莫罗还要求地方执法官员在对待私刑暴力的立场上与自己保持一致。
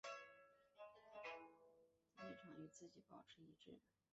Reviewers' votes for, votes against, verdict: 0, 4, rejected